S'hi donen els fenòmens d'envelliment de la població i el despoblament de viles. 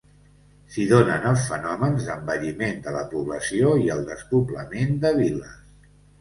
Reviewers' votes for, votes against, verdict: 2, 0, accepted